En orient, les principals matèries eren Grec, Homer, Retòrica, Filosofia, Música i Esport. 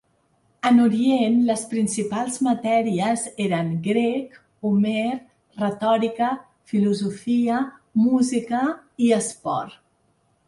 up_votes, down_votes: 2, 0